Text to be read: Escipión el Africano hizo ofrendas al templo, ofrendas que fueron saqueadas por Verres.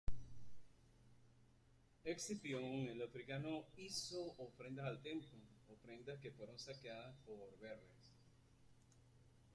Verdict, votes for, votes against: accepted, 2, 0